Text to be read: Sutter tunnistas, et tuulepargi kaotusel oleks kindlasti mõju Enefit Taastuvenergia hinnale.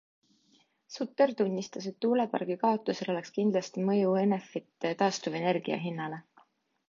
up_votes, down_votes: 2, 0